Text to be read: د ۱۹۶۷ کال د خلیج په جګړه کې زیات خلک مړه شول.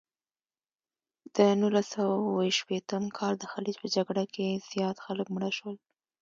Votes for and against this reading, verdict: 0, 2, rejected